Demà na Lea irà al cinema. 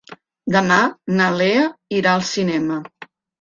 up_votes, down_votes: 3, 0